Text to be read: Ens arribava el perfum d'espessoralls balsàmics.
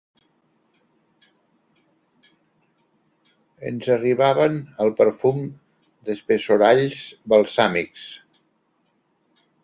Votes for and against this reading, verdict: 0, 2, rejected